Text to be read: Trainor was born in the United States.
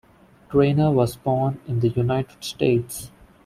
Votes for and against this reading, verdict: 2, 0, accepted